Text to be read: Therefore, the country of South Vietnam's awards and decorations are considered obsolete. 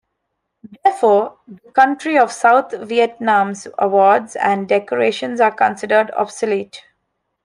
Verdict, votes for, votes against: accepted, 2, 0